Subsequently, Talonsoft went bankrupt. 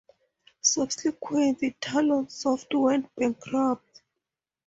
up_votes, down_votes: 4, 0